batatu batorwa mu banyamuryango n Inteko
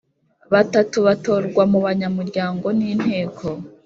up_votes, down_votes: 3, 0